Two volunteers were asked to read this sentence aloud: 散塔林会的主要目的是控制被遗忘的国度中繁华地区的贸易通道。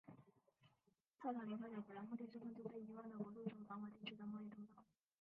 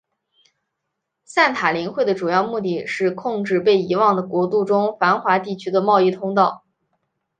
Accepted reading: second